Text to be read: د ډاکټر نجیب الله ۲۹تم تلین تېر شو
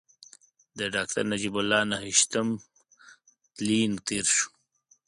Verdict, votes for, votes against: rejected, 0, 2